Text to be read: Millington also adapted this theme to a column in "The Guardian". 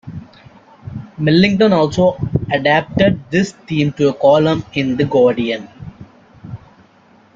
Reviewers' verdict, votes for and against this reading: accepted, 2, 0